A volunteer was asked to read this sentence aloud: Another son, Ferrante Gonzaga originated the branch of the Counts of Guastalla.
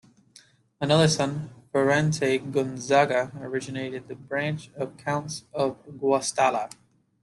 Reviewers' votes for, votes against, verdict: 2, 0, accepted